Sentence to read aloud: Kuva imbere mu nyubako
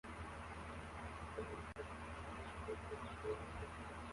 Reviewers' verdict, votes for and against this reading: rejected, 0, 2